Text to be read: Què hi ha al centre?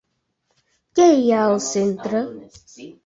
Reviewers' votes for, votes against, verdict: 6, 1, accepted